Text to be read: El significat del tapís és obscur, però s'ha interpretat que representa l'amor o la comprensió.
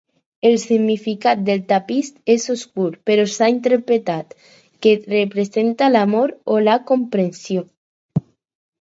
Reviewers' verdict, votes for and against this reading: accepted, 4, 0